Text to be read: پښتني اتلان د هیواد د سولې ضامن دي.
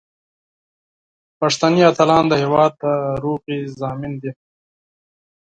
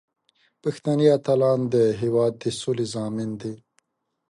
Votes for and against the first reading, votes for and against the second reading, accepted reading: 2, 4, 2, 0, second